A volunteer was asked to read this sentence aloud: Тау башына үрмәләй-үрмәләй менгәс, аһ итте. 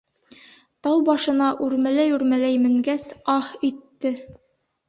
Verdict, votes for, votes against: accepted, 3, 0